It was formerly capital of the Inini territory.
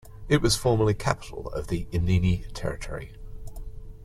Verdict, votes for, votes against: accepted, 2, 0